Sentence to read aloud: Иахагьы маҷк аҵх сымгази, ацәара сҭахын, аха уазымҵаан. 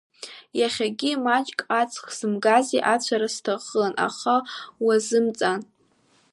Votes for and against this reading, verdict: 2, 0, accepted